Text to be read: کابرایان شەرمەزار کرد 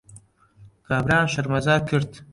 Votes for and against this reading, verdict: 1, 2, rejected